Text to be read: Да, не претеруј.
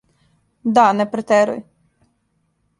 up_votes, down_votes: 2, 0